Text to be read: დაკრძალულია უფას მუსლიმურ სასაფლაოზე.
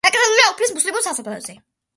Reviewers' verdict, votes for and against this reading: rejected, 0, 2